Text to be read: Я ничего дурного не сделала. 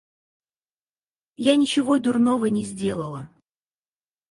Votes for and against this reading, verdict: 0, 4, rejected